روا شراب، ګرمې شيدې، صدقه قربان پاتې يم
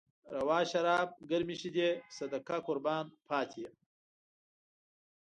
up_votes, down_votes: 2, 0